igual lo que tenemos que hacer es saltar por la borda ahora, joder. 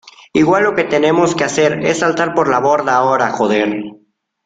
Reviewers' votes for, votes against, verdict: 2, 0, accepted